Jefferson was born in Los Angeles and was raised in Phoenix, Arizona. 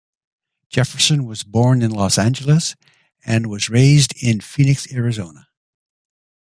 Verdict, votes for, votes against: accepted, 2, 0